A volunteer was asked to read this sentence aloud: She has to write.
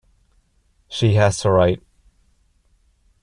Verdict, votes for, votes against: rejected, 1, 2